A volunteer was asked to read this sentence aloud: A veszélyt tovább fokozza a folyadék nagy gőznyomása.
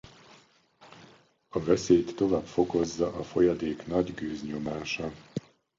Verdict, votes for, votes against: rejected, 0, 2